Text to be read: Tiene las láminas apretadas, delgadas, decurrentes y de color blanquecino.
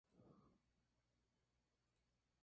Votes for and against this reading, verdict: 0, 2, rejected